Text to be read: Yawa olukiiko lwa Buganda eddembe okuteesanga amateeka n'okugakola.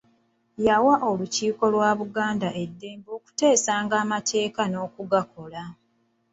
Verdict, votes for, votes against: rejected, 0, 2